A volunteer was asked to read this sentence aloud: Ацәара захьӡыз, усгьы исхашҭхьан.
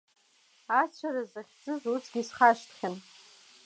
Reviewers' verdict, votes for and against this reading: accepted, 2, 0